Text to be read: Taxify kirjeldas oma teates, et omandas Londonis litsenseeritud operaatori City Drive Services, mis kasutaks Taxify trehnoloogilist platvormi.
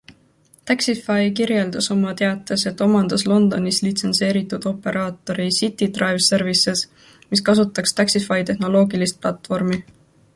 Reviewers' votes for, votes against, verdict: 2, 1, accepted